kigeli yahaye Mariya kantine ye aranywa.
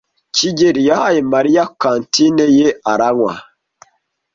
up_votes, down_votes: 2, 0